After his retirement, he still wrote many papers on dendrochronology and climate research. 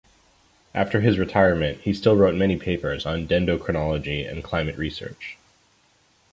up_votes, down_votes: 2, 0